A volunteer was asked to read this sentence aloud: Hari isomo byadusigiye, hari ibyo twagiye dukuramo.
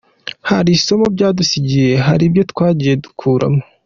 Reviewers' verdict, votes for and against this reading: accepted, 2, 0